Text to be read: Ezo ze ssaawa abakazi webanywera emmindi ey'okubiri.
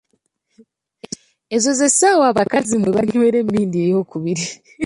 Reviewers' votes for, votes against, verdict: 0, 2, rejected